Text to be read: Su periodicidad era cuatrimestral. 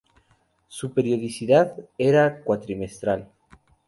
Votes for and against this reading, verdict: 2, 0, accepted